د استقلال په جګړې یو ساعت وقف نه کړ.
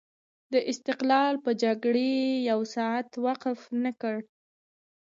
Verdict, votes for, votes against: accepted, 2, 0